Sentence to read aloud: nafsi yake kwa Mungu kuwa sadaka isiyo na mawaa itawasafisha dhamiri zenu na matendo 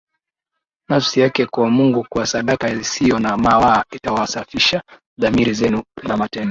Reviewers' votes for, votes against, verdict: 1, 2, rejected